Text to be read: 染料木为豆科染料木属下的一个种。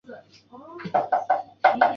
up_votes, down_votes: 1, 4